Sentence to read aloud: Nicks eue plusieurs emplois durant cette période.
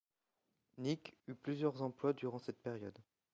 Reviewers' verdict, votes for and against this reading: rejected, 0, 2